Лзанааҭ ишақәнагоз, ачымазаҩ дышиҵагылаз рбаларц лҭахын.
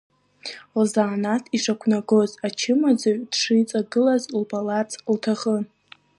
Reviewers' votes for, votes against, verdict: 2, 0, accepted